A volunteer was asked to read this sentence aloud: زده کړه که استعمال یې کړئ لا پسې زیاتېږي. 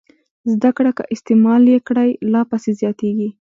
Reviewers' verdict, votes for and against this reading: accepted, 2, 1